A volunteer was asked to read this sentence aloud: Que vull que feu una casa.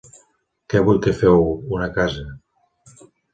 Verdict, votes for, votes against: accepted, 3, 0